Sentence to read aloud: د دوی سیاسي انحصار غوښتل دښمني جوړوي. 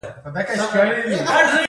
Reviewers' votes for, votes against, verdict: 1, 2, rejected